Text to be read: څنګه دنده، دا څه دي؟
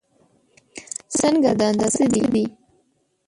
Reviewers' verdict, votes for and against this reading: rejected, 1, 2